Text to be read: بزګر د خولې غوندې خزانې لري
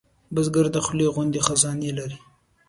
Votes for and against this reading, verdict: 2, 0, accepted